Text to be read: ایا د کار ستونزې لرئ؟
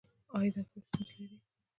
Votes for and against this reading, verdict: 1, 2, rejected